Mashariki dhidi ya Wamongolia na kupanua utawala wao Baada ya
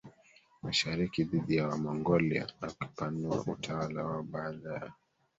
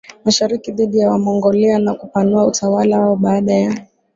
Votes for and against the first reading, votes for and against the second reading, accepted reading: 1, 2, 2, 0, second